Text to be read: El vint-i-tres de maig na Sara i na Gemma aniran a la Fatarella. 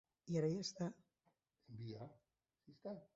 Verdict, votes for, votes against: rejected, 0, 2